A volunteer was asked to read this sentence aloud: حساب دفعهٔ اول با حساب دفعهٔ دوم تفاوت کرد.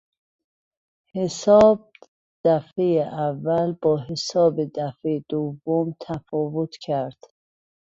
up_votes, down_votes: 0, 2